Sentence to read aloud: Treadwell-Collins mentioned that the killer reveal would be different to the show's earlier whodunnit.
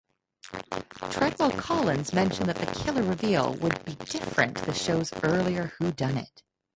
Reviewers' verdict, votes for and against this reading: rejected, 2, 2